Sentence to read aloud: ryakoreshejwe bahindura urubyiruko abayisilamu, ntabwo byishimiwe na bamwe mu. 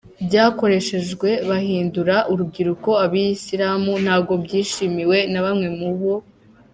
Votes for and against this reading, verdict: 2, 1, accepted